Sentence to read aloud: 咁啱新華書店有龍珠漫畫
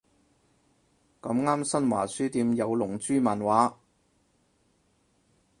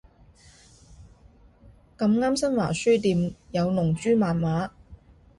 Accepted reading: second